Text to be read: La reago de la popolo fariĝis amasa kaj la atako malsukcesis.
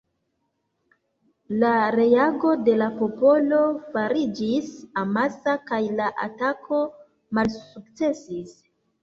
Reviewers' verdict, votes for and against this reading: accepted, 2, 0